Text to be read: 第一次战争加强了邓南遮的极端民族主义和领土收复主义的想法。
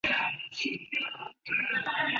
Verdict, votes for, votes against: accepted, 2, 1